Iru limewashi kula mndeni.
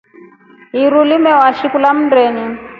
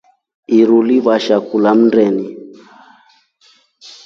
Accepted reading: first